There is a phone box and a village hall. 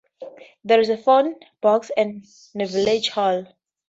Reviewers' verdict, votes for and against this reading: rejected, 0, 2